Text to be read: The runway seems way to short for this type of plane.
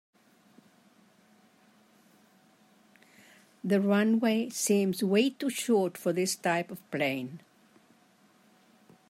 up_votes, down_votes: 4, 0